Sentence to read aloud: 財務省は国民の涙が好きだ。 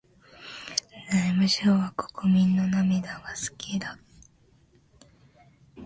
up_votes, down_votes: 1, 2